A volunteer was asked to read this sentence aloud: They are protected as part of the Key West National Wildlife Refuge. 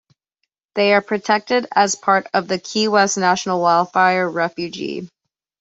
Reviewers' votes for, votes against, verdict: 1, 2, rejected